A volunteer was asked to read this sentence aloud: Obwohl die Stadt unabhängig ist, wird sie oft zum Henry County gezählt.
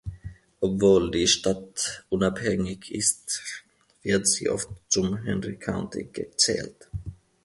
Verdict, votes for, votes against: accepted, 2, 0